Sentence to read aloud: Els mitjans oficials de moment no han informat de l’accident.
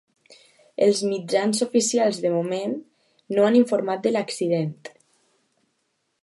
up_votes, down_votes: 2, 0